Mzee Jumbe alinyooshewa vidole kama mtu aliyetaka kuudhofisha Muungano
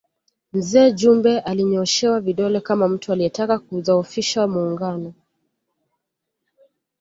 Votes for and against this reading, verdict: 2, 0, accepted